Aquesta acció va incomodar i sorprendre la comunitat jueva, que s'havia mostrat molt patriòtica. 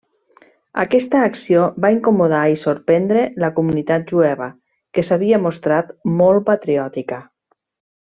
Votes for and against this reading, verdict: 3, 0, accepted